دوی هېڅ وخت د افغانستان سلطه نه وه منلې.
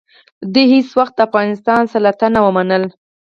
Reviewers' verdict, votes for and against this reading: rejected, 2, 4